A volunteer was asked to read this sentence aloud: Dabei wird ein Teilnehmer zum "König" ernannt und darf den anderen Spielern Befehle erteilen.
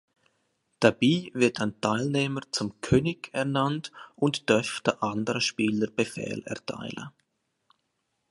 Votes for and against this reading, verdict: 0, 2, rejected